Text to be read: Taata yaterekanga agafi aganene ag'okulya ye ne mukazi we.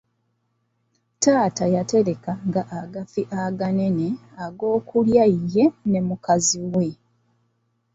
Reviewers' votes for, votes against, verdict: 0, 2, rejected